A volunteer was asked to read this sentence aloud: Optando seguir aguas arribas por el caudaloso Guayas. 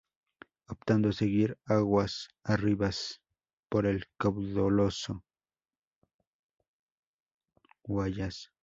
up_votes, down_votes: 0, 2